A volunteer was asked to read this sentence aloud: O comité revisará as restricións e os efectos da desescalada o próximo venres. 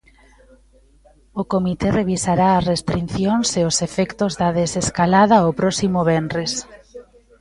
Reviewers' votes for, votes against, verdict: 0, 2, rejected